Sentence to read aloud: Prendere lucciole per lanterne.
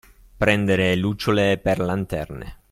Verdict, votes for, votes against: accepted, 2, 0